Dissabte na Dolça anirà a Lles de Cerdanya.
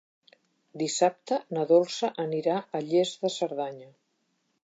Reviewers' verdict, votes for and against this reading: accepted, 2, 0